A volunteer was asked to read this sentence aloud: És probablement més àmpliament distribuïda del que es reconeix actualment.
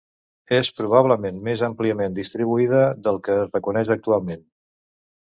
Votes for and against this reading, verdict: 2, 0, accepted